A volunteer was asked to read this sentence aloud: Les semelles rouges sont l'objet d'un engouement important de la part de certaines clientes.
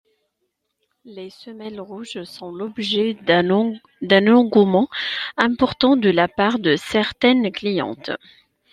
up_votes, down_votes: 0, 2